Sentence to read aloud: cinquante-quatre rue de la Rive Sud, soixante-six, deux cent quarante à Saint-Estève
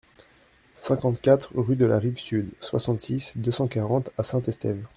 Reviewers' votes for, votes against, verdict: 2, 0, accepted